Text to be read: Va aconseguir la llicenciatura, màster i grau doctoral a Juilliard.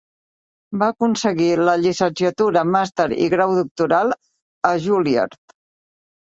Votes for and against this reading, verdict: 3, 2, accepted